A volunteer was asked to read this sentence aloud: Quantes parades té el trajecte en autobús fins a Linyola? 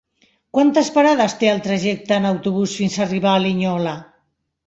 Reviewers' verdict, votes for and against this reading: rejected, 0, 3